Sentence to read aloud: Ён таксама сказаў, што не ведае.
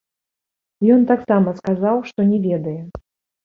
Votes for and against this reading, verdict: 0, 2, rejected